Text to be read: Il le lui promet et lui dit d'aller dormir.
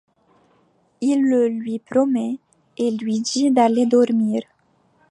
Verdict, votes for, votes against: accepted, 2, 0